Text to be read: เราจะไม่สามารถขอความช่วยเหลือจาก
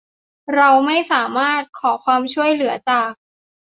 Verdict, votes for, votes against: rejected, 0, 2